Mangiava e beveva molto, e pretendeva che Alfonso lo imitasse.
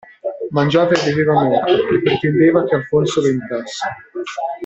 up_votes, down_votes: 0, 2